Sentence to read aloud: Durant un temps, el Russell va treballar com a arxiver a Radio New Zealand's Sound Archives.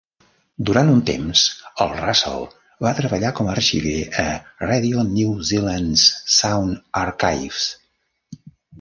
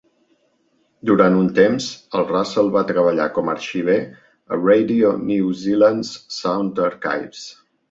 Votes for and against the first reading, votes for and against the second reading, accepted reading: 0, 2, 2, 0, second